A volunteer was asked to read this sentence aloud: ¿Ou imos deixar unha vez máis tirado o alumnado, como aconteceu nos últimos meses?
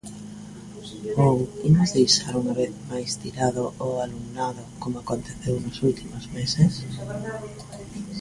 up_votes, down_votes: 2, 0